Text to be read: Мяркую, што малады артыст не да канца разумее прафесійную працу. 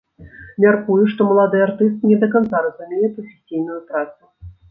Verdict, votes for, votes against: rejected, 1, 2